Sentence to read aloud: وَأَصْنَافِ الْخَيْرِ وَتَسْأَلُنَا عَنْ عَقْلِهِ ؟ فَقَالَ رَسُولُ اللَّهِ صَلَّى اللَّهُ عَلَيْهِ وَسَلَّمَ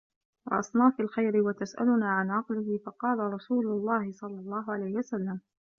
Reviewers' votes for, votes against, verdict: 1, 2, rejected